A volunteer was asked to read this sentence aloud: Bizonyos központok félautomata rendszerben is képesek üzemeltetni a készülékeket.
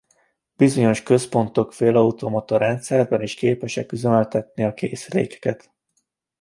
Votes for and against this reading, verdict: 2, 0, accepted